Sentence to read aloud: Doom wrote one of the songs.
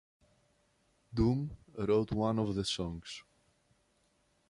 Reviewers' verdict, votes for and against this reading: accepted, 2, 0